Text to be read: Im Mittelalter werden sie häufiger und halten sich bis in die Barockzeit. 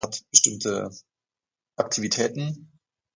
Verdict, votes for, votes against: rejected, 0, 2